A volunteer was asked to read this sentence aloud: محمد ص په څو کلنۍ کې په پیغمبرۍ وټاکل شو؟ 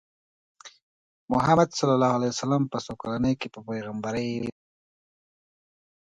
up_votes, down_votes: 1, 2